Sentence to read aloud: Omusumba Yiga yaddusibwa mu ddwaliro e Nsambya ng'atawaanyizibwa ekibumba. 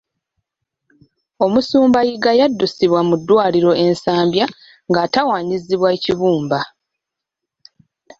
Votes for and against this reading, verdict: 3, 0, accepted